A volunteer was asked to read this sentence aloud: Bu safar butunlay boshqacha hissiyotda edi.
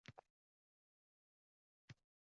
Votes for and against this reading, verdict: 0, 2, rejected